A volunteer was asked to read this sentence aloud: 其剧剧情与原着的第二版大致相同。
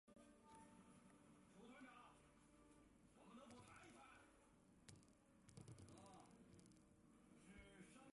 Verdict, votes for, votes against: rejected, 2, 4